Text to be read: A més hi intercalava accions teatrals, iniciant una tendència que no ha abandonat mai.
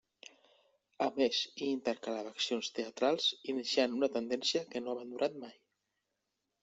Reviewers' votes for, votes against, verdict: 1, 2, rejected